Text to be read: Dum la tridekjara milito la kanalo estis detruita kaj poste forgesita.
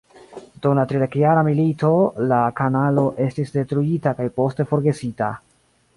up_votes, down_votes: 2, 0